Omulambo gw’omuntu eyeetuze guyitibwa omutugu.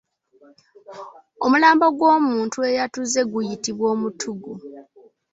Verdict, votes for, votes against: rejected, 0, 2